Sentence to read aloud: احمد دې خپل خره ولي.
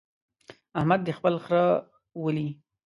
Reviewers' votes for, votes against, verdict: 2, 0, accepted